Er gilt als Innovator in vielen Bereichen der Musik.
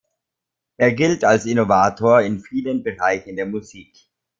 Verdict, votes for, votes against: accepted, 2, 0